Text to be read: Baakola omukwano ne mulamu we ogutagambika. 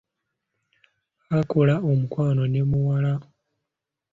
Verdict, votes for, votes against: rejected, 0, 2